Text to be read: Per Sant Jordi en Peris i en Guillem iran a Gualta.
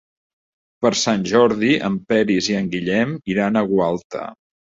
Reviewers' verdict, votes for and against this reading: accepted, 2, 0